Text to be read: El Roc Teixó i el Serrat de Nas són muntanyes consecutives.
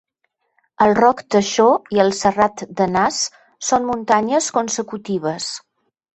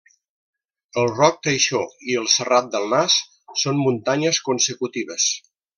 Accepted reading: first